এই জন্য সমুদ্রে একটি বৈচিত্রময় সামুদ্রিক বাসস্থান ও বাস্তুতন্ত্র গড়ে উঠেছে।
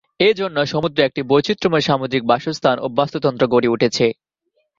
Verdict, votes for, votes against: accepted, 2, 0